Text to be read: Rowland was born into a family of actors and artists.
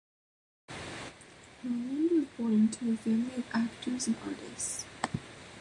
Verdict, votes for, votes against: rejected, 1, 2